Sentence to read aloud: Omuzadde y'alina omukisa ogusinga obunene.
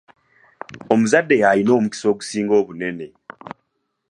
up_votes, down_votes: 2, 0